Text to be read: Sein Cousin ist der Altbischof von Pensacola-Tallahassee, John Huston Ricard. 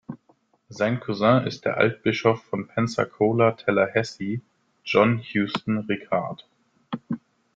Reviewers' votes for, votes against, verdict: 2, 0, accepted